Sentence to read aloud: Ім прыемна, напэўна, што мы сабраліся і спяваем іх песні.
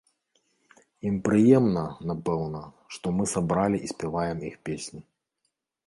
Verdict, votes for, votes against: rejected, 0, 2